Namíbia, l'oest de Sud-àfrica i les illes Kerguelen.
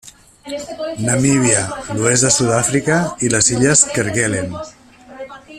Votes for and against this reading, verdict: 1, 2, rejected